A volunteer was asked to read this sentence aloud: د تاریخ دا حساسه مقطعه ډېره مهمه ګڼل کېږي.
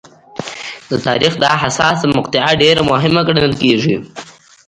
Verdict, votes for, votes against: rejected, 1, 2